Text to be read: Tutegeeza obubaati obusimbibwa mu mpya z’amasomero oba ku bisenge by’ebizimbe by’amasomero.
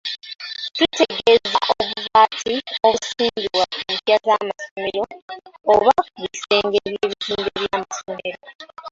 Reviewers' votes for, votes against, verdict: 0, 2, rejected